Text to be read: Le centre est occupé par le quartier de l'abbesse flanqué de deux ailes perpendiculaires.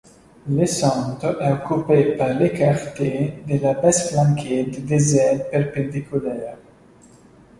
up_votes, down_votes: 2, 1